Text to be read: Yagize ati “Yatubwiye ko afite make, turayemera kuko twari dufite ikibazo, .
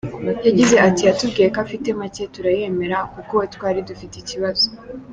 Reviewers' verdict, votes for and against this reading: accepted, 2, 0